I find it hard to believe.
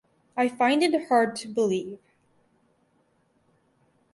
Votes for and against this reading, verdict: 4, 0, accepted